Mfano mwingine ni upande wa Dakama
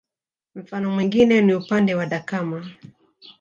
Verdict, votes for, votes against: rejected, 0, 2